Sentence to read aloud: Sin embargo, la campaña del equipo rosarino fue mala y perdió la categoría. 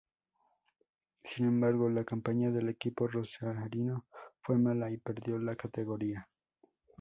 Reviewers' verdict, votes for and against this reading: accepted, 2, 0